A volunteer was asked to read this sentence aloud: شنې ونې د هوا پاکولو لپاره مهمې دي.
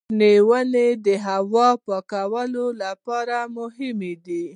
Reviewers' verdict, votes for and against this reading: accepted, 2, 0